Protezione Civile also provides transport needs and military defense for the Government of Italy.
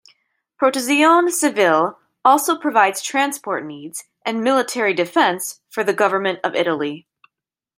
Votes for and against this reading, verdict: 1, 2, rejected